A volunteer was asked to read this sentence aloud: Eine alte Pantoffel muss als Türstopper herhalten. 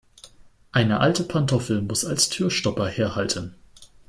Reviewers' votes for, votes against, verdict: 2, 0, accepted